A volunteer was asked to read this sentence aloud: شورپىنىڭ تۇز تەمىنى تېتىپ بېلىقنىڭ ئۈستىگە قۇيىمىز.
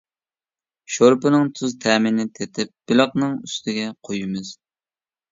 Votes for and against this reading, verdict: 2, 0, accepted